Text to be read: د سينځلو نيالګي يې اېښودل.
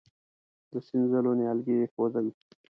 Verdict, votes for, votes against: rejected, 0, 2